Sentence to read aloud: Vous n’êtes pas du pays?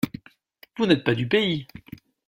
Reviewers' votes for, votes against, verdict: 2, 0, accepted